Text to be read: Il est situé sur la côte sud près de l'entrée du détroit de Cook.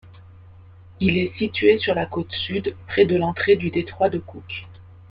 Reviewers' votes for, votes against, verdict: 2, 0, accepted